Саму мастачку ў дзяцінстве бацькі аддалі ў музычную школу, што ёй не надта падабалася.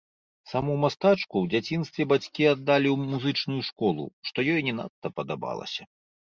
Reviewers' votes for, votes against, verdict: 2, 1, accepted